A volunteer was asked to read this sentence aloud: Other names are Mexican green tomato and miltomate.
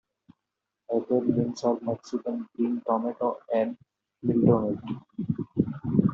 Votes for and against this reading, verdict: 0, 2, rejected